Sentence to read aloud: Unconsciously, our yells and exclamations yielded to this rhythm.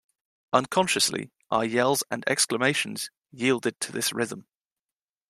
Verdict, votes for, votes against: accepted, 2, 0